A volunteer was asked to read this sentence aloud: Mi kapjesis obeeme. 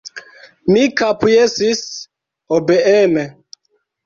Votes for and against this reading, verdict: 2, 0, accepted